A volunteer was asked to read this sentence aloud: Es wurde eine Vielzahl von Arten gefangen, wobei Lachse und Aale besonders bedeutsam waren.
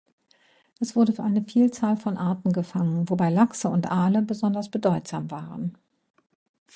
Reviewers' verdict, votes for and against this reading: rejected, 0, 2